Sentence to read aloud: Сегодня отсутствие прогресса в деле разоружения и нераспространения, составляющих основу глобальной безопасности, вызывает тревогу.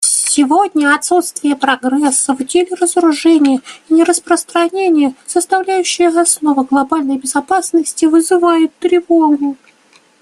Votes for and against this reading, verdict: 1, 2, rejected